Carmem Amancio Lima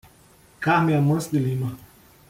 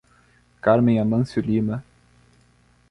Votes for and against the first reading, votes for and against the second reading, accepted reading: 1, 2, 2, 0, second